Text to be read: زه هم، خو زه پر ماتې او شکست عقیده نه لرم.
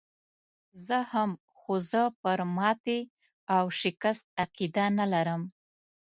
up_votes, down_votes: 2, 0